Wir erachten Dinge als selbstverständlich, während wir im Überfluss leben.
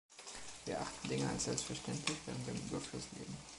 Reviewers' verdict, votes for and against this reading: rejected, 0, 2